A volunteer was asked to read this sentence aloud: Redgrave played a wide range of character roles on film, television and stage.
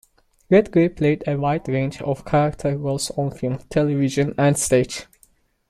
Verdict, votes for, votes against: accepted, 2, 1